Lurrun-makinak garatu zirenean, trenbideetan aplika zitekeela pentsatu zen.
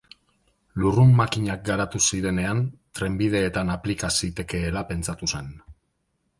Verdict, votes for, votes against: rejected, 1, 2